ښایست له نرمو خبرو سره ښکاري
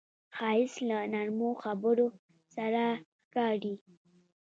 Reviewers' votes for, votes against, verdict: 0, 2, rejected